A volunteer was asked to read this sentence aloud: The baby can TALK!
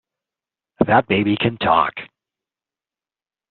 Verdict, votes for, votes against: rejected, 1, 2